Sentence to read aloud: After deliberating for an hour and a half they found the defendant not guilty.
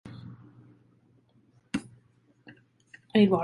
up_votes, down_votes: 0, 2